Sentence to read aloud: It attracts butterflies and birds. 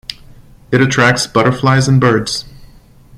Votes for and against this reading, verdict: 2, 0, accepted